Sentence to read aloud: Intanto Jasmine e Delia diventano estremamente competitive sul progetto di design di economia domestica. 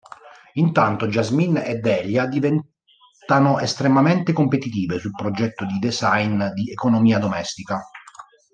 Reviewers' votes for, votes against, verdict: 1, 2, rejected